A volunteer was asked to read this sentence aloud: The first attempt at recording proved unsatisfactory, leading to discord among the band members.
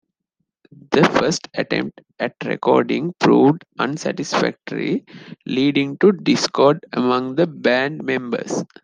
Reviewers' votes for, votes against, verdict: 2, 0, accepted